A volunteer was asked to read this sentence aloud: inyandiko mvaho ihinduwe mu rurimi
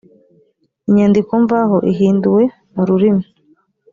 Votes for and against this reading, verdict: 4, 0, accepted